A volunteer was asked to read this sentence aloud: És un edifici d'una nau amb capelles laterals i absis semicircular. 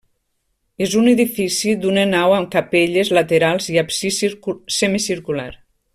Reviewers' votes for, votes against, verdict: 0, 2, rejected